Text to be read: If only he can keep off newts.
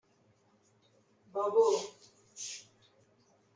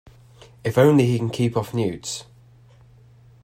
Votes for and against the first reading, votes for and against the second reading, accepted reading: 0, 2, 2, 0, second